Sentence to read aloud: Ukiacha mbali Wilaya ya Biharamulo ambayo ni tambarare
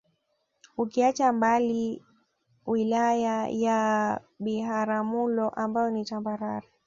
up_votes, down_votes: 2, 1